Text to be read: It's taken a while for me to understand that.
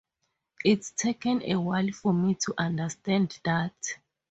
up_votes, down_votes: 0, 2